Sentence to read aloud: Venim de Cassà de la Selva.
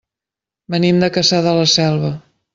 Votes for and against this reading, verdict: 2, 0, accepted